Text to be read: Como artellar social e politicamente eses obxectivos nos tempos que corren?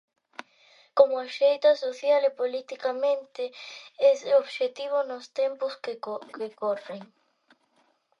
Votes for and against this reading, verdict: 0, 3, rejected